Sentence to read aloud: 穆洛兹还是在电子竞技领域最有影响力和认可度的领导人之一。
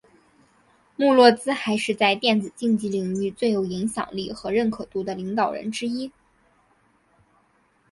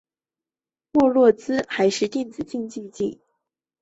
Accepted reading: first